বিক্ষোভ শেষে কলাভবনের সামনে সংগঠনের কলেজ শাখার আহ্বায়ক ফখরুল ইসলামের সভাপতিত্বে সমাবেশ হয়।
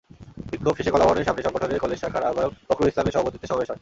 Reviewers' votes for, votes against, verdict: 2, 0, accepted